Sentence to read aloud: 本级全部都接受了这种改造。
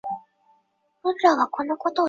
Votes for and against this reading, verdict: 0, 2, rejected